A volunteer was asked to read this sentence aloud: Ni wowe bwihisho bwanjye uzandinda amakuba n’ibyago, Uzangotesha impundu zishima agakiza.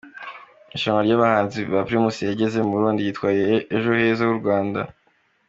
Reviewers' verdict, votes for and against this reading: rejected, 1, 2